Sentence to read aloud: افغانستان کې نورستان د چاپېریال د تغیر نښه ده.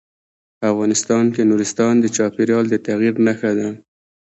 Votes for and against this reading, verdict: 2, 1, accepted